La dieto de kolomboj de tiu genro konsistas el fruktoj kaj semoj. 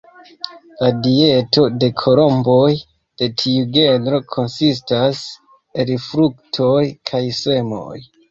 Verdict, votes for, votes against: accepted, 2, 0